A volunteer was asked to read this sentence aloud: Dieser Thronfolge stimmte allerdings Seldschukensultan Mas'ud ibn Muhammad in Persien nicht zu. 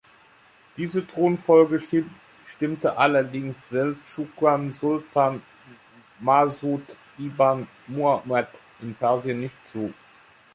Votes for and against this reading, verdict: 0, 2, rejected